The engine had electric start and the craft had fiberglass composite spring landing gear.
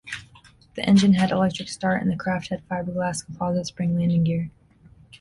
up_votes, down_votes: 3, 0